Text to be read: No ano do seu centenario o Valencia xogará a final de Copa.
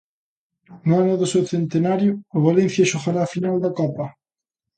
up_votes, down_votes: 0, 2